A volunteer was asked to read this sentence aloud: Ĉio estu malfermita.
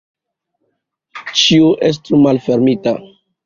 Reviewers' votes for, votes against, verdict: 2, 0, accepted